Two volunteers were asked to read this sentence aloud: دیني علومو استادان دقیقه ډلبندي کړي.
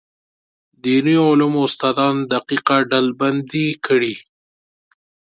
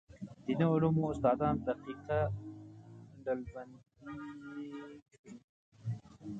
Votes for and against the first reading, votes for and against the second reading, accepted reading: 2, 0, 0, 2, first